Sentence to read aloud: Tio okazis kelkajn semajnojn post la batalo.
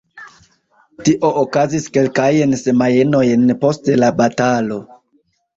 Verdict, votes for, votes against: rejected, 0, 2